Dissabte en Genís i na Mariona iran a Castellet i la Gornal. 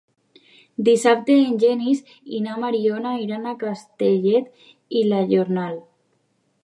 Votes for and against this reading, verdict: 1, 2, rejected